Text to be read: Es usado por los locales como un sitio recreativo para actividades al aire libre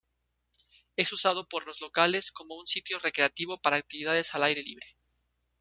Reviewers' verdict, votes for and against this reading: accepted, 2, 0